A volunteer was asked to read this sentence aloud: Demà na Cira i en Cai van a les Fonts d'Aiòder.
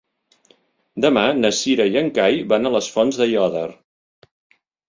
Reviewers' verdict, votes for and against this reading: accepted, 3, 0